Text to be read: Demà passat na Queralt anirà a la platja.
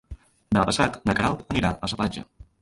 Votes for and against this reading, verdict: 1, 2, rejected